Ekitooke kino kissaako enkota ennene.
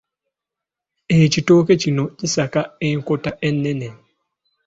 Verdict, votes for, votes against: rejected, 1, 2